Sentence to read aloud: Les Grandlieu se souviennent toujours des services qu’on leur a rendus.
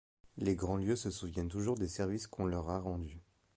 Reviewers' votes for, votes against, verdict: 2, 0, accepted